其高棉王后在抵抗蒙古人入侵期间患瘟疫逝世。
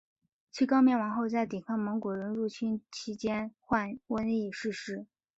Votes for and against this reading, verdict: 2, 0, accepted